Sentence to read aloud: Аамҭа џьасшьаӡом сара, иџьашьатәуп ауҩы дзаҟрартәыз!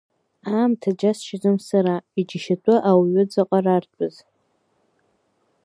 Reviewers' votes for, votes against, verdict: 2, 0, accepted